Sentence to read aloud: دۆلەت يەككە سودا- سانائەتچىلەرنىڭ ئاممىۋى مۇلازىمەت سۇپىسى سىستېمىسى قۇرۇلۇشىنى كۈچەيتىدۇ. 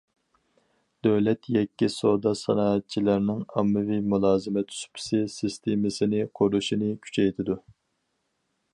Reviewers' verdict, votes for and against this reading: rejected, 0, 4